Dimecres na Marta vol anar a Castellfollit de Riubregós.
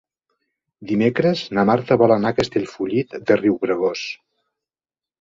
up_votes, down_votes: 2, 0